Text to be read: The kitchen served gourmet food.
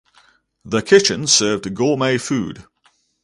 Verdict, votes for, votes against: accepted, 2, 0